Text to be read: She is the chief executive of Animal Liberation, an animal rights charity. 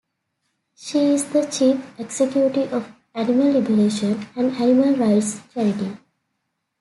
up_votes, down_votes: 2, 1